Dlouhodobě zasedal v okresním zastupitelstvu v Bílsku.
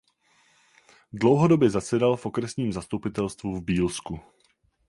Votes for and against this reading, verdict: 4, 0, accepted